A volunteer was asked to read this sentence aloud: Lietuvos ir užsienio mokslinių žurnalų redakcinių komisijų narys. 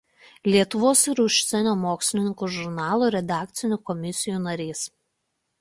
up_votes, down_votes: 1, 2